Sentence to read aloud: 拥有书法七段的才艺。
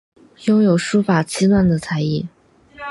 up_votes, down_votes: 4, 0